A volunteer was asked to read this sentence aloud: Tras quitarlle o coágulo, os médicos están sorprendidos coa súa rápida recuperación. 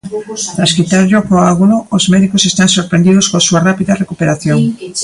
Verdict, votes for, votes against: rejected, 0, 3